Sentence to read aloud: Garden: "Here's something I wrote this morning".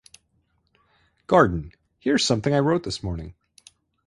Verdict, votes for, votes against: accepted, 8, 0